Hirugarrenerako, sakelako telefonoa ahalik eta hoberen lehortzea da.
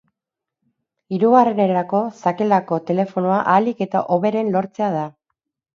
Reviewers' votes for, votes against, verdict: 2, 2, rejected